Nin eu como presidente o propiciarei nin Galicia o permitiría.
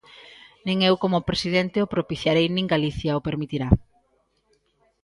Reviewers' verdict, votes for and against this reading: rejected, 0, 2